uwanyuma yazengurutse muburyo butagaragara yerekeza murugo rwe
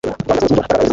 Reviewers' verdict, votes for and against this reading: rejected, 1, 2